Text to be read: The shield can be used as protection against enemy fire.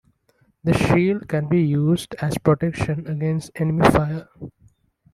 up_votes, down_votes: 2, 1